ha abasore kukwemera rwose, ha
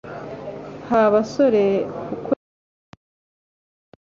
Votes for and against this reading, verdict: 0, 3, rejected